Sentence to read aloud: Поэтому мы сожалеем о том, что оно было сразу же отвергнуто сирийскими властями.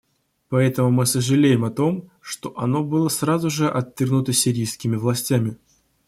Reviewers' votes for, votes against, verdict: 1, 2, rejected